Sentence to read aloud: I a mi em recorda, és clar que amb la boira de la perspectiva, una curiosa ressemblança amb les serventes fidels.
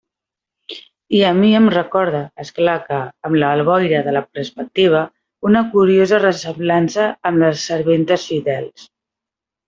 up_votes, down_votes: 0, 2